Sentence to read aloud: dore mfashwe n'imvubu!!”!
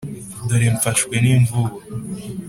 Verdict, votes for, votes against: accepted, 4, 0